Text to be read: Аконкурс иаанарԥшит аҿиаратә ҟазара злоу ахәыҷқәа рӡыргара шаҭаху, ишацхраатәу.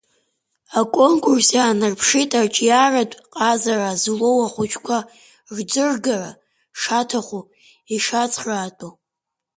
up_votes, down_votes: 3, 1